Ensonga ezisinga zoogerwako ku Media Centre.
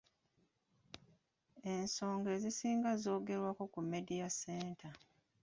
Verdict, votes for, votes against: accepted, 2, 1